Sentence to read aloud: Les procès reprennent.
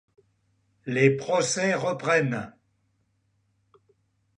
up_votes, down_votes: 2, 0